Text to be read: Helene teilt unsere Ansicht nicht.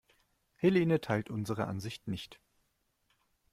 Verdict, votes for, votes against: accepted, 3, 0